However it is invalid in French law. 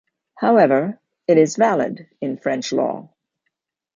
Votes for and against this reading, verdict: 0, 2, rejected